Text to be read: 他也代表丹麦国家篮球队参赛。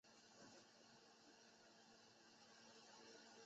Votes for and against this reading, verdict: 0, 2, rejected